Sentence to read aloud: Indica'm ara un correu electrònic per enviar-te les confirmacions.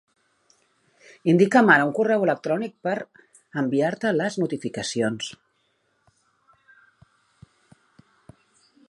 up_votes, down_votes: 0, 2